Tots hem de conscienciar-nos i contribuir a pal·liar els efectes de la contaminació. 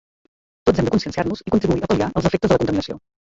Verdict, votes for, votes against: rejected, 0, 2